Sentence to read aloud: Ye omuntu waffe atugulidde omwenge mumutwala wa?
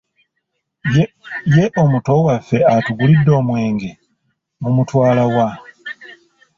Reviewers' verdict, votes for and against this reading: rejected, 0, 2